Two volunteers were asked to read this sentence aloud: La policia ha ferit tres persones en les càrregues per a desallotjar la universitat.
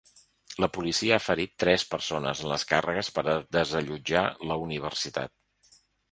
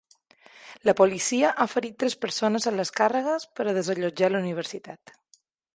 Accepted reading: second